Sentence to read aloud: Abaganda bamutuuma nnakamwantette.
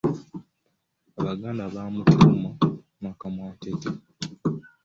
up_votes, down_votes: 2, 1